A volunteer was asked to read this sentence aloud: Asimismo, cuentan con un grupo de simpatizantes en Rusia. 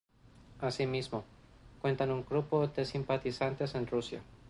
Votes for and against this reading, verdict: 0, 2, rejected